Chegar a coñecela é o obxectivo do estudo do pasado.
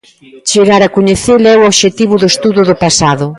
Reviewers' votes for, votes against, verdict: 2, 0, accepted